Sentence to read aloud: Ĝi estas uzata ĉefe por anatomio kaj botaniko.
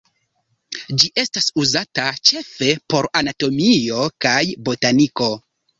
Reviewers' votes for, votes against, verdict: 2, 1, accepted